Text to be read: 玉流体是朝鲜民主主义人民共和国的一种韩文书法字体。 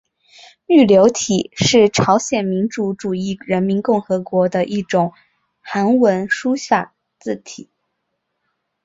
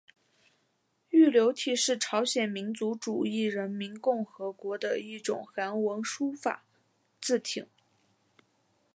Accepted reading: first